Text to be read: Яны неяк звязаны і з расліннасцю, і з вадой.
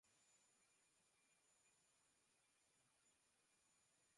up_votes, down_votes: 0, 2